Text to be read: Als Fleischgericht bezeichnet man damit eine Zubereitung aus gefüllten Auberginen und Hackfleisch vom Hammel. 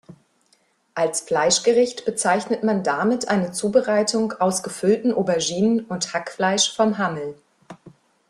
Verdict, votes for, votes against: accepted, 3, 0